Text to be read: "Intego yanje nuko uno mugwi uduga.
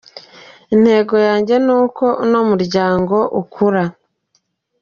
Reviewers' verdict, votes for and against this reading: rejected, 1, 2